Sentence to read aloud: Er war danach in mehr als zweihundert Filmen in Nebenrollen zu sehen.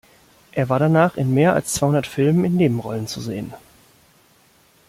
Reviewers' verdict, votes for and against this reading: accepted, 2, 0